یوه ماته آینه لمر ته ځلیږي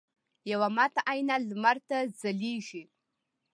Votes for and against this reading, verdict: 2, 0, accepted